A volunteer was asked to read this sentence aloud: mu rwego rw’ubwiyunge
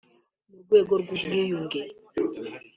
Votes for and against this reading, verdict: 2, 0, accepted